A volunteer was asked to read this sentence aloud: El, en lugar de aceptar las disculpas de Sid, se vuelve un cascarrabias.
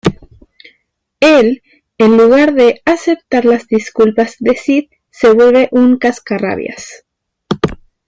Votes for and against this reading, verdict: 0, 2, rejected